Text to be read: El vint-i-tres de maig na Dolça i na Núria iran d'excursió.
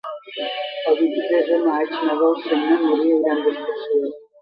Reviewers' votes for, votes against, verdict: 0, 2, rejected